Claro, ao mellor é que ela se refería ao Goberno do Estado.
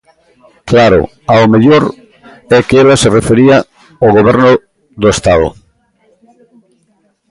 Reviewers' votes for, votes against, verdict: 1, 2, rejected